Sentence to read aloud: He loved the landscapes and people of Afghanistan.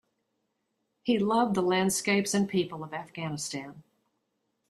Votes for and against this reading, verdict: 2, 0, accepted